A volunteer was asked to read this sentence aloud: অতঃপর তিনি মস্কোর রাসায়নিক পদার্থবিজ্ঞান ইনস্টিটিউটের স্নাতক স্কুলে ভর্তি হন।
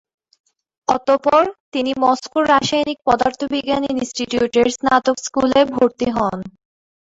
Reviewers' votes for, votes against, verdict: 2, 1, accepted